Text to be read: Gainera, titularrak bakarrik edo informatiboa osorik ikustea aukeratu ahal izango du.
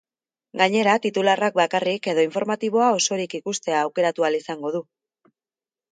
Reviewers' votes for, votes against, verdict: 2, 0, accepted